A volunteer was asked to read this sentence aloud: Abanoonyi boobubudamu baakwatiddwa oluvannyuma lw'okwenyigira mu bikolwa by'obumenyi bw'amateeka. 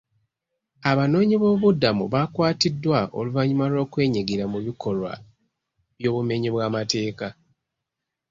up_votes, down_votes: 2, 0